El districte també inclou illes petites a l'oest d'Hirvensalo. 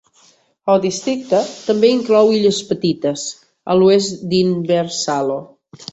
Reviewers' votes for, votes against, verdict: 1, 2, rejected